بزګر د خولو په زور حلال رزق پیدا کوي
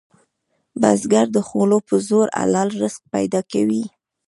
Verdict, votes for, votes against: rejected, 1, 2